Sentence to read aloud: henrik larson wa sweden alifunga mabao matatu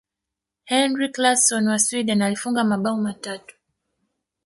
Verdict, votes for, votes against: rejected, 2, 3